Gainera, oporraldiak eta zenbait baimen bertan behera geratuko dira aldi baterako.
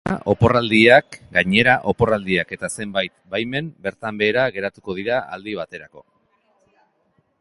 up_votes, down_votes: 0, 3